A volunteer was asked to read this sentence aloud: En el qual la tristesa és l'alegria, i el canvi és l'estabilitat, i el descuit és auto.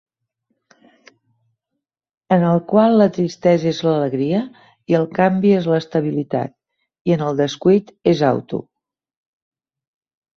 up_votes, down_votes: 0, 2